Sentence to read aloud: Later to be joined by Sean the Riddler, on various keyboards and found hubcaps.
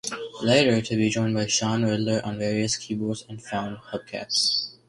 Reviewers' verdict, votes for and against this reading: accepted, 2, 0